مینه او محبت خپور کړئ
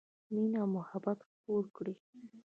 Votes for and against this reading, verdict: 1, 2, rejected